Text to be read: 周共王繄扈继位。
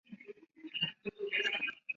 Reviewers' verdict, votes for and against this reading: rejected, 0, 2